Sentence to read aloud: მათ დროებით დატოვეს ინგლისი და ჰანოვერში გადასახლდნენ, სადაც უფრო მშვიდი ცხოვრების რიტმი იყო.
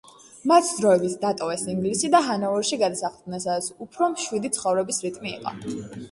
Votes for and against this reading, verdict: 2, 0, accepted